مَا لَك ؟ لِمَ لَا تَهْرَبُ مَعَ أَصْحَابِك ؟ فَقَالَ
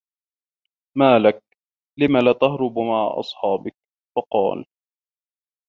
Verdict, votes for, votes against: rejected, 1, 2